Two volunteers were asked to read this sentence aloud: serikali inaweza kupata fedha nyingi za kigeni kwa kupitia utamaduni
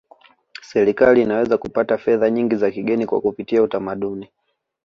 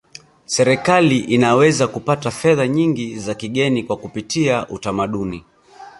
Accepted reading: first